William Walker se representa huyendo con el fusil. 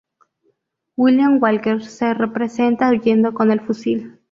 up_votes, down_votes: 0, 2